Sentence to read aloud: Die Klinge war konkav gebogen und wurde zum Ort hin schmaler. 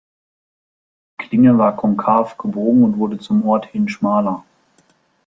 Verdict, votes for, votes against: rejected, 0, 2